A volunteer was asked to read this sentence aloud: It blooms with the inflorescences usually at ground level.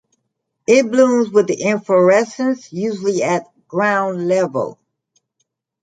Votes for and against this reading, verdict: 2, 0, accepted